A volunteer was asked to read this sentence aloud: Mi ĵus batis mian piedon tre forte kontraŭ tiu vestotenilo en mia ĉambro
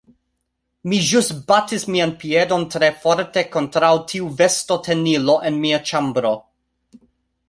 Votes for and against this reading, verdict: 1, 2, rejected